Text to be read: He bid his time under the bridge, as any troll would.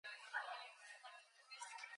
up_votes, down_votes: 0, 4